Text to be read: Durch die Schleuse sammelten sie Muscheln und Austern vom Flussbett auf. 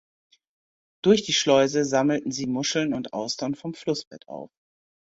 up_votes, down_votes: 2, 0